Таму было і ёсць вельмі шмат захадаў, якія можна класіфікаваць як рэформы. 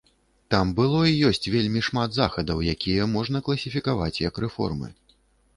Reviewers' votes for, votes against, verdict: 1, 2, rejected